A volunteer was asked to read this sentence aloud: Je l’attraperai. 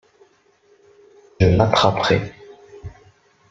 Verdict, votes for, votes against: rejected, 0, 2